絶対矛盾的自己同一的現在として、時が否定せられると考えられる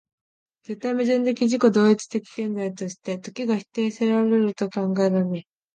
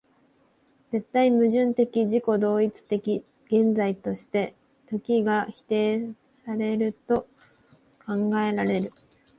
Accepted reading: first